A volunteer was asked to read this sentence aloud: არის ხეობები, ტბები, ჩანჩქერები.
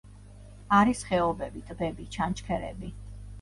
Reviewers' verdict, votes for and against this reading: accepted, 2, 0